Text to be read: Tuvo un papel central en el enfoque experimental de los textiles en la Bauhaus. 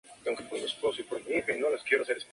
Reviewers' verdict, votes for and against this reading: rejected, 0, 2